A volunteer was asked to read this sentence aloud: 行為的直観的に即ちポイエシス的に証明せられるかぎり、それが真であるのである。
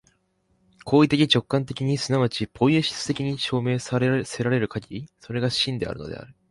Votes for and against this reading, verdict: 1, 2, rejected